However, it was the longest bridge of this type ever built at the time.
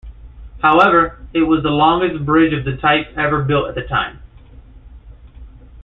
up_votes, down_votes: 0, 2